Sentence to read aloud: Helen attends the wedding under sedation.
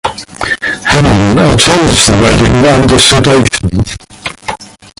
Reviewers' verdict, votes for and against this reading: rejected, 0, 2